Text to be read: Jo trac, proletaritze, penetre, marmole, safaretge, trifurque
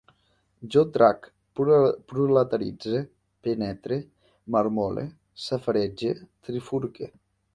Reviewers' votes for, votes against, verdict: 0, 2, rejected